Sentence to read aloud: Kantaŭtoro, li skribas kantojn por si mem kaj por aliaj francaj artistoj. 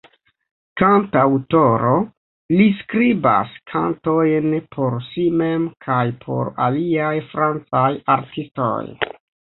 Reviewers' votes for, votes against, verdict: 0, 2, rejected